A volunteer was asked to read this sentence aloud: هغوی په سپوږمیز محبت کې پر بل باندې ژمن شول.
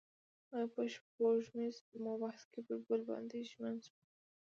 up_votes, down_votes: 2, 0